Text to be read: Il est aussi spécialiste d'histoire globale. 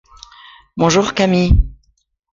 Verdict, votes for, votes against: rejected, 0, 2